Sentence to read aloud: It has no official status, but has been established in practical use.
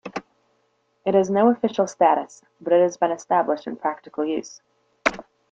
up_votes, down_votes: 0, 2